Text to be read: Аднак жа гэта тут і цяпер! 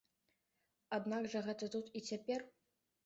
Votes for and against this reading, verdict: 2, 0, accepted